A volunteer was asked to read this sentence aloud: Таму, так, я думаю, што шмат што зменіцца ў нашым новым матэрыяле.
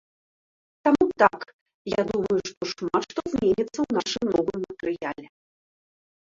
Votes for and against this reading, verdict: 2, 0, accepted